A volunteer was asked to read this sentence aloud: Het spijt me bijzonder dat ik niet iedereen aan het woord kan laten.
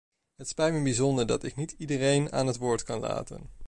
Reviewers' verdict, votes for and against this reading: accepted, 2, 0